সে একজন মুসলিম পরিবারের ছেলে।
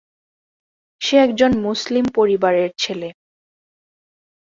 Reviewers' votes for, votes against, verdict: 3, 0, accepted